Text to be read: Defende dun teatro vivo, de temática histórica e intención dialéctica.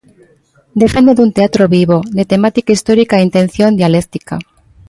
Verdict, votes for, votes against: rejected, 0, 2